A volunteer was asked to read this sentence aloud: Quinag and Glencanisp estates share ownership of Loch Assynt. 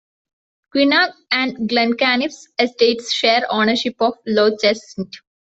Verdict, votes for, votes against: accepted, 2, 0